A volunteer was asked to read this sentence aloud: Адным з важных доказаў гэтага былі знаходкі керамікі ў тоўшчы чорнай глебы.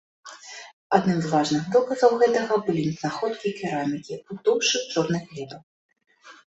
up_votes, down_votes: 2, 0